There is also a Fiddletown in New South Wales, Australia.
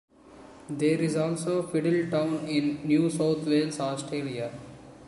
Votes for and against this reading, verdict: 2, 1, accepted